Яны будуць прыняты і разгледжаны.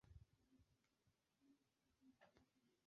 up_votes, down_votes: 0, 2